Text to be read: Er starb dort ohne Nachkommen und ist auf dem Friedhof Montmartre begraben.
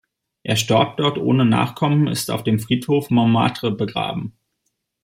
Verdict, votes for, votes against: rejected, 1, 2